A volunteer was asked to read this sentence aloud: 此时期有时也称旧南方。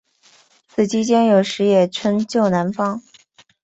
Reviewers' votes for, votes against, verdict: 0, 2, rejected